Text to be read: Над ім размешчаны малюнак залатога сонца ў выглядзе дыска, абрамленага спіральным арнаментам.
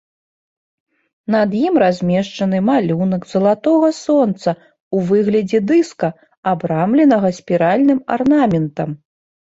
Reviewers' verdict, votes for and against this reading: accepted, 3, 1